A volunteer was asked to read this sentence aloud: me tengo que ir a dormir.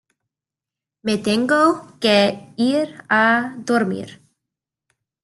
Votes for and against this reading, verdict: 2, 1, accepted